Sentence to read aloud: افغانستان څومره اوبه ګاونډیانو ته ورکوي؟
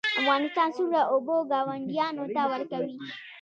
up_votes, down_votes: 0, 2